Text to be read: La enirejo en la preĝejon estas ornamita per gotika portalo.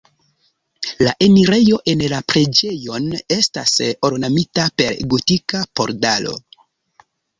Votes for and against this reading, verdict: 0, 2, rejected